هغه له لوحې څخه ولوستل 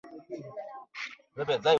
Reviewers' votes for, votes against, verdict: 1, 2, rejected